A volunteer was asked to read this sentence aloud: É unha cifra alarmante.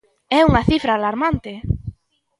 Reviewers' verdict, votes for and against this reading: accepted, 2, 0